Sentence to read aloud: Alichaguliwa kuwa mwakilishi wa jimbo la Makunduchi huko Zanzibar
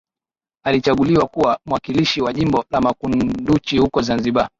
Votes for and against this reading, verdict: 6, 0, accepted